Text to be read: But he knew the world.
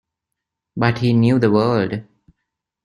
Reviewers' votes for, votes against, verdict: 2, 1, accepted